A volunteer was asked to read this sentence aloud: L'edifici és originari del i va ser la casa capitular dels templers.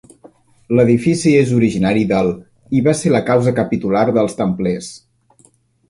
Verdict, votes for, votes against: rejected, 1, 2